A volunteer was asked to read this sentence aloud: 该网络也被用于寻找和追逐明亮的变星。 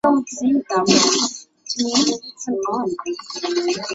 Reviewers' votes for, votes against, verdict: 0, 2, rejected